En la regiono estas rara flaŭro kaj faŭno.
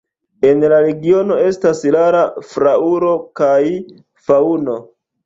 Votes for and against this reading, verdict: 2, 0, accepted